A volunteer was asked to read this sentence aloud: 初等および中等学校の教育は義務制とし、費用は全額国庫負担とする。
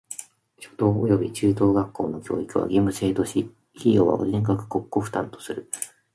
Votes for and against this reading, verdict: 1, 2, rejected